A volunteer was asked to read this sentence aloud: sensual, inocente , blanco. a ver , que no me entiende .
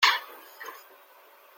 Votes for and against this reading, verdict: 0, 2, rejected